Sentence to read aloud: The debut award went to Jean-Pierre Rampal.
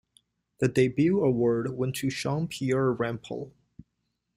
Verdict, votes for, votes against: accepted, 2, 0